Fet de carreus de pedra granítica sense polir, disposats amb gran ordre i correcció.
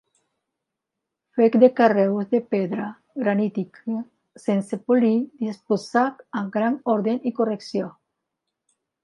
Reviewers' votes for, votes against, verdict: 1, 3, rejected